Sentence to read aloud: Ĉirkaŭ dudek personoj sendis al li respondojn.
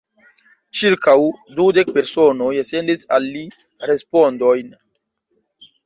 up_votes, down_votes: 1, 2